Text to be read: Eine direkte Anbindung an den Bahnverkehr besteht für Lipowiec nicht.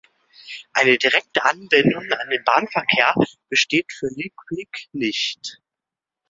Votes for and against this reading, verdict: 1, 2, rejected